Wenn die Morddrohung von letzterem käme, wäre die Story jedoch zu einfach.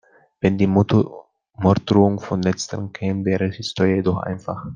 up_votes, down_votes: 0, 2